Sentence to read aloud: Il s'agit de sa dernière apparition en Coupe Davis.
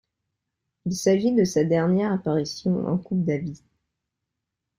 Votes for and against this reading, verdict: 1, 2, rejected